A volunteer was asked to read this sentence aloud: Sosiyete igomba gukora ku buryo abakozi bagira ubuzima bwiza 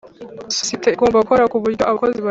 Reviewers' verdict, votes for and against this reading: rejected, 1, 2